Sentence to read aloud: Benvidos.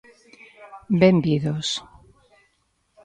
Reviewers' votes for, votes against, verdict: 2, 0, accepted